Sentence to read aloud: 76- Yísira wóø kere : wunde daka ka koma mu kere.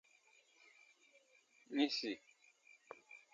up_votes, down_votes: 0, 2